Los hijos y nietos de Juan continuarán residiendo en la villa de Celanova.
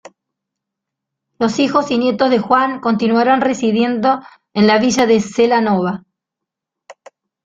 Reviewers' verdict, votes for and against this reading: rejected, 0, 2